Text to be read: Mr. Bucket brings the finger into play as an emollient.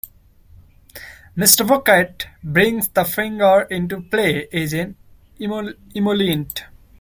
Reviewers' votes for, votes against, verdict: 0, 2, rejected